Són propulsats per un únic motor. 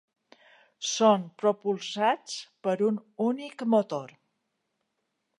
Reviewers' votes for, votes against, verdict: 2, 0, accepted